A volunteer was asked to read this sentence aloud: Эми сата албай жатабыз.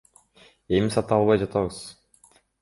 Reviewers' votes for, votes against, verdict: 2, 0, accepted